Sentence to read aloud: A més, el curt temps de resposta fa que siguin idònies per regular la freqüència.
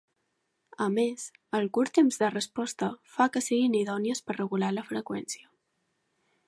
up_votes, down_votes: 3, 0